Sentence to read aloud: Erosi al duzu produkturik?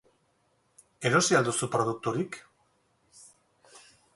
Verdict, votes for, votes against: rejected, 0, 2